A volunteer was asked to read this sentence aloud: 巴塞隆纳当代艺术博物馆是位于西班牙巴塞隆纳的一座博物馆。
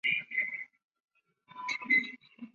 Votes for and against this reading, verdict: 0, 2, rejected